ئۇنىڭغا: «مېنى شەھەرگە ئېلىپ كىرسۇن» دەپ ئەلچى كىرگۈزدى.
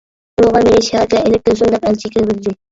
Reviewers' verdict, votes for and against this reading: rejected, 0, 2